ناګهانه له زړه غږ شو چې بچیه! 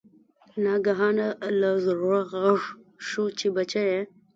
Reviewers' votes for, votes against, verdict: 0, 2, rejected